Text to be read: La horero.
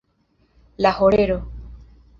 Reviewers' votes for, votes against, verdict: 2, 1, accepted